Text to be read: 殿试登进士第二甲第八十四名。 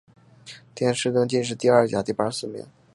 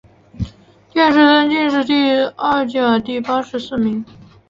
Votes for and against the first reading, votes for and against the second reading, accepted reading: 3, 0, 1, 2, first